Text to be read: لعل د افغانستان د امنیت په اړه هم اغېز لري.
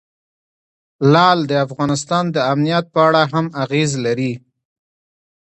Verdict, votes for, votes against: rejected, 1, 2